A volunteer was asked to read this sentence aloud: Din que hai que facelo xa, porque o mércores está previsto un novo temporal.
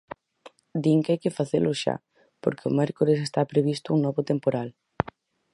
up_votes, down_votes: 4, 0